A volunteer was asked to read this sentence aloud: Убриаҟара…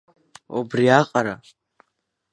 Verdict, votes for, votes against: accepted, 2, 0